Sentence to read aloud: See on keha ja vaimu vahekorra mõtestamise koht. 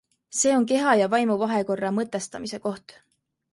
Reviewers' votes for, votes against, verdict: 2, 0, accepted